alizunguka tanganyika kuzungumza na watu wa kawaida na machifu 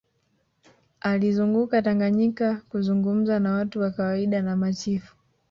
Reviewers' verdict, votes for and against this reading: rejected, 0, 2